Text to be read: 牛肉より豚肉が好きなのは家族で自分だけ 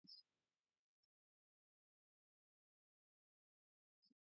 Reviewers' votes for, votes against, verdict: 1, 2, rejected